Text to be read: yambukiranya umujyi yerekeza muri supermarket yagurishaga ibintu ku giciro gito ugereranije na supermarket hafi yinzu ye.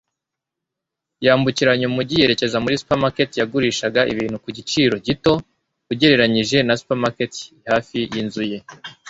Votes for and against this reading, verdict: 2, 0, accepted